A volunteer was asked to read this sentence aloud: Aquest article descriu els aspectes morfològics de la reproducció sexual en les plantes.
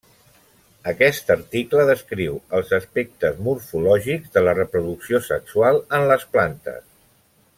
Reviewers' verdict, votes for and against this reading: accepted, 3, 0